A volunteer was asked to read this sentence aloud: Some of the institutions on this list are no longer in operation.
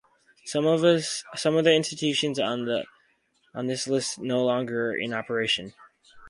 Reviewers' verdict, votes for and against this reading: rejected, 0, 4